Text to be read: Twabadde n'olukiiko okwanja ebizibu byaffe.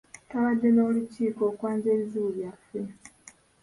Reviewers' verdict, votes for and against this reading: accepted, 2, 1